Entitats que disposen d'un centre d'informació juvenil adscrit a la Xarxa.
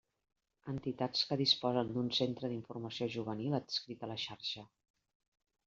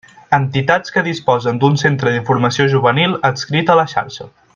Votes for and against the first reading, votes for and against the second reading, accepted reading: 1, 2, 2, 0, second